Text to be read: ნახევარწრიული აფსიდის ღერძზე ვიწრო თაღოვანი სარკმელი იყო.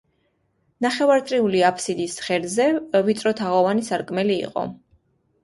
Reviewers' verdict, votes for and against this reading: accepted, 2, 0